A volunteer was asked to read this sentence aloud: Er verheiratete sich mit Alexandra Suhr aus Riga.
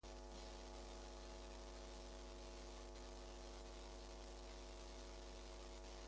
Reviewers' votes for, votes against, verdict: 0, 2, rejected